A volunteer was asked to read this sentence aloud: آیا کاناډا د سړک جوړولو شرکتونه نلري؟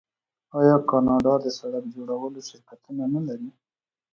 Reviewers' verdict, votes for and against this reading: accepted, 2, 0